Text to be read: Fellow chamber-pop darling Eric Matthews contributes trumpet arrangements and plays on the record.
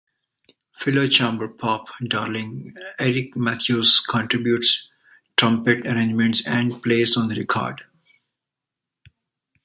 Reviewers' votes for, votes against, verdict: 2, 1, accepted